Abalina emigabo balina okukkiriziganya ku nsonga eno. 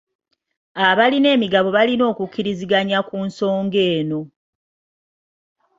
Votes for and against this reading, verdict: 2, 0, accepted